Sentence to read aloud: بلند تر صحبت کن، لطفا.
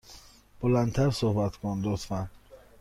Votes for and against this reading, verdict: 2, 0, accepted